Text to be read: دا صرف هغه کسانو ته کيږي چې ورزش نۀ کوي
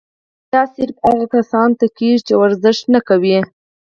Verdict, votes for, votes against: rejected, 2, 4